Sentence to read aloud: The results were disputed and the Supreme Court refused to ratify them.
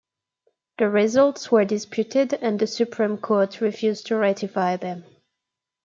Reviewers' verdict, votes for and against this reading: accepted, 2, 0